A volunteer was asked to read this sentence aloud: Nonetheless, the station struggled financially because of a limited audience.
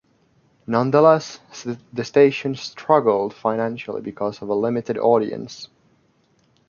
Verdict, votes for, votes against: accepted, 2, 0